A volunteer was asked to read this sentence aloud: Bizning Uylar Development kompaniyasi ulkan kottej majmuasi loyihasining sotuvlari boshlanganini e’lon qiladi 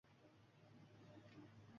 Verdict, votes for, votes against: rejected, 1, 2